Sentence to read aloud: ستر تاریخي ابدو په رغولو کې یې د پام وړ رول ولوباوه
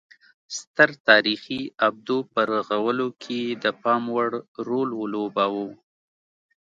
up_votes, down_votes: 2, 0